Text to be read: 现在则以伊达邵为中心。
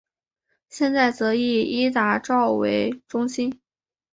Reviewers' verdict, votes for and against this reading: accepted, 4, 0